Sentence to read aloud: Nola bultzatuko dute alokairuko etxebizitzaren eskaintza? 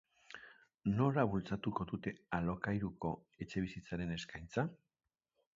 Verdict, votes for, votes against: accepted, 2, 0